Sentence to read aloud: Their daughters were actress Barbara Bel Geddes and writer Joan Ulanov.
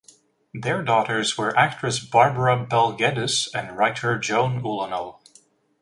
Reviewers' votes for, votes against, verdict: 2, 0, accepted